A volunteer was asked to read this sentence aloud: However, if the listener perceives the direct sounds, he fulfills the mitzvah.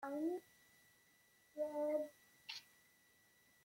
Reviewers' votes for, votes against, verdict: 0, 2, rejected